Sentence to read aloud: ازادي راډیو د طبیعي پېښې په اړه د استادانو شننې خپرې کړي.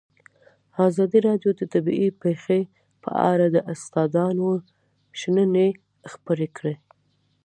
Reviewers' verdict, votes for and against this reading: accepted, 2, 1